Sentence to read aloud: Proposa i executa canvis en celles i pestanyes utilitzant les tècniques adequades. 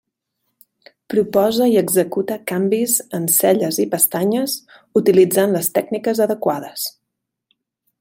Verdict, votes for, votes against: accepted, 4, 0